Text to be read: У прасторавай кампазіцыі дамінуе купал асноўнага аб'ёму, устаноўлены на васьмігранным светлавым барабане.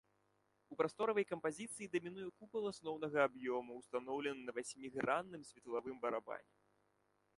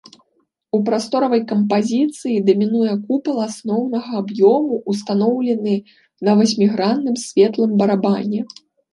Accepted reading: first